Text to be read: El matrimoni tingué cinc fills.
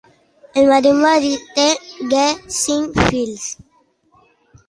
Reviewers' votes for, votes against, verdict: 1, 2, rejected